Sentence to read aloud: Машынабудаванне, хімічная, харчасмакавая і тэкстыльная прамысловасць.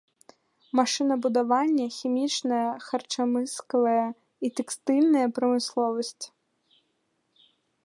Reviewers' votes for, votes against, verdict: 0, 2, rejected